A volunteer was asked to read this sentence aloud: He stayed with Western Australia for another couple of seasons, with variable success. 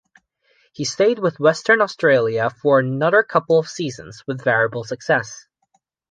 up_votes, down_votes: 2, 0